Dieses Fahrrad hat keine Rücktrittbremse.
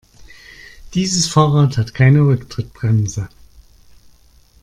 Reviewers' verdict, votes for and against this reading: accepted, 2, 0